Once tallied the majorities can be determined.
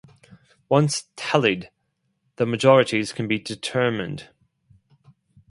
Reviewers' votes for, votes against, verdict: 2, 0, accepted